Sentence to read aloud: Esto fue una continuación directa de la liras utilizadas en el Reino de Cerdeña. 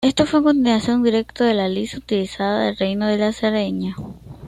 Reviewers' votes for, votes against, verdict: 2, 0, accepted